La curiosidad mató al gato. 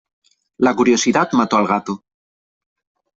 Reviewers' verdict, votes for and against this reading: accepted, 3, 0